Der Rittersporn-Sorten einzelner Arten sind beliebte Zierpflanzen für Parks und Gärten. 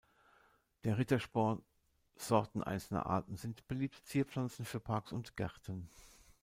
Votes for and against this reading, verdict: 1, 2, rejected